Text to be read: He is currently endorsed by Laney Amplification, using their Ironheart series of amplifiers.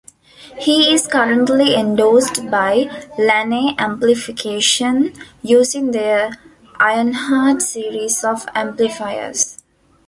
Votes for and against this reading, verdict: 0, 2, rejected